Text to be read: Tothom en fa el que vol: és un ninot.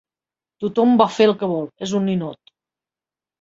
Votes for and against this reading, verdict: 0, 2, rejected